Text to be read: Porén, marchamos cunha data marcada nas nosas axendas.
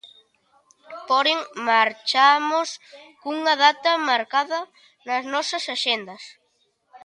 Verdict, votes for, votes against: rejected, 0, 2